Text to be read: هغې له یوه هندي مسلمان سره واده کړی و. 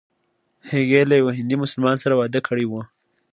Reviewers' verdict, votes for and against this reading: accepted, 2, 0